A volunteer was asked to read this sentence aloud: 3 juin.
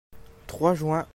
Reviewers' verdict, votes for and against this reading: rejected, 0, 2